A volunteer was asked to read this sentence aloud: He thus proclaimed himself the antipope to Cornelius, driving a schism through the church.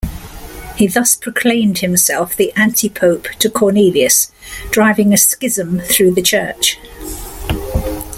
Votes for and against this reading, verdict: 2, 0, accepted